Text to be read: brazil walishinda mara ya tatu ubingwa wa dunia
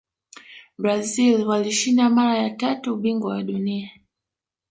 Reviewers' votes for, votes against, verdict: 1, 2, rejected